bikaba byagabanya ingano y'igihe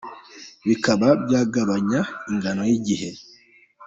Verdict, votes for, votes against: accepted, 2, 0